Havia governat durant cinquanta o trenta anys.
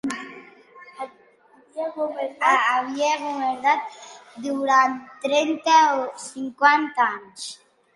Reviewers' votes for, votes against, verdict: 0, 2, rejected